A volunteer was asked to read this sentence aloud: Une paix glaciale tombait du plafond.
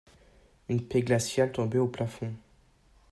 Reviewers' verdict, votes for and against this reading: rejected, 0, 2